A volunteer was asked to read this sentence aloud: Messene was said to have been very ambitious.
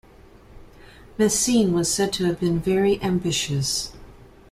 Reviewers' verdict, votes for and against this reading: accepted, 2, 0